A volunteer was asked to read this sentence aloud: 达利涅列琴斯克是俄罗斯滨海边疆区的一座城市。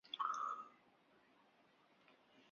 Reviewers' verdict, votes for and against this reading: rejected, 0, 2